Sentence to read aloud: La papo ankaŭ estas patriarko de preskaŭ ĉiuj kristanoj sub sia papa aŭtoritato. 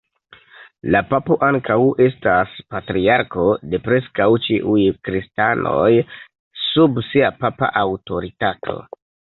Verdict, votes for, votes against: accepted, 2, 1